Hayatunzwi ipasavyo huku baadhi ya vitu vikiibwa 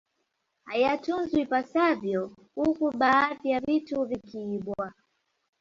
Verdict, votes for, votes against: accepted, 2, 0